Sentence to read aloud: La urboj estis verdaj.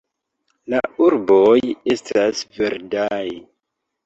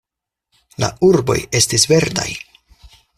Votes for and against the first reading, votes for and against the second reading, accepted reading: 2, 3, 4, 0, second